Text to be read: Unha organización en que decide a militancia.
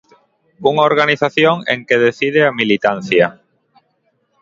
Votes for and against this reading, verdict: 2, 0, accepted